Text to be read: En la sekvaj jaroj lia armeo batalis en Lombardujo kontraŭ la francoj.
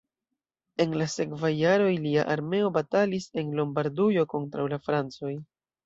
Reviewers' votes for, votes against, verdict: 2, 0, accepted